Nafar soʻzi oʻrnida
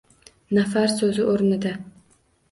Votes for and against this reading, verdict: 2, 0, accepted